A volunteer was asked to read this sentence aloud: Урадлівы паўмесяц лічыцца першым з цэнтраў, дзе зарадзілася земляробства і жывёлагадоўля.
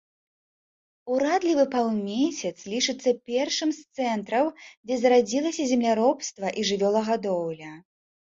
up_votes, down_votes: 0, 2